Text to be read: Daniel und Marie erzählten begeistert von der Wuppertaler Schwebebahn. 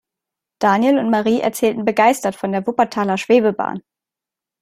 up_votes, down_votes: 2, 0